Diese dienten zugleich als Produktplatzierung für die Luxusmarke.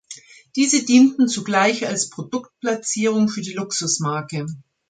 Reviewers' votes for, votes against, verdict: 2, 0, accepted